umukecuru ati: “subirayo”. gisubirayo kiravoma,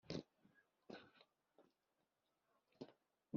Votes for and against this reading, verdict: 0, 2, rejected